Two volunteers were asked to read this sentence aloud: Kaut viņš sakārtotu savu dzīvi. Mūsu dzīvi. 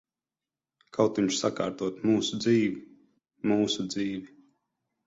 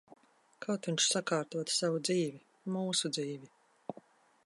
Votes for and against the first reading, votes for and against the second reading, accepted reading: 0, 12, 2, 0, second